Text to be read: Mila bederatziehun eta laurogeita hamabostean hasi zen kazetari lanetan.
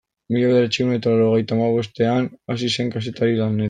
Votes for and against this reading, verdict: 0, 2, rejected